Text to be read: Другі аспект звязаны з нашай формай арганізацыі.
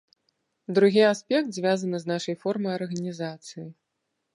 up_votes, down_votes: 2, 0